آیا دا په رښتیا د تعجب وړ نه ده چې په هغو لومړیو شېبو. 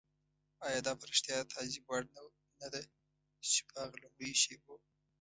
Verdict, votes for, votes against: rejected, 1, 2